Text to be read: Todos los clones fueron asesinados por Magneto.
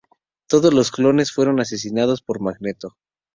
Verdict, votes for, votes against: accepted, 2, 0